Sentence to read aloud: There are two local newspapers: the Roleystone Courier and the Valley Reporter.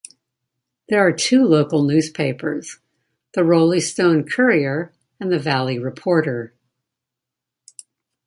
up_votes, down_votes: 2, 0